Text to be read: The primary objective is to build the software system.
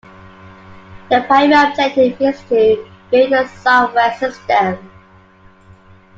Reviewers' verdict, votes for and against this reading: rejected, 0, 2